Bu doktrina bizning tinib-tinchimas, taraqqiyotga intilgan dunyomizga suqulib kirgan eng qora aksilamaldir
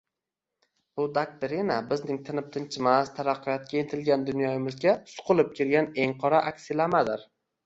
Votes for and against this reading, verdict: 1, 2, rejected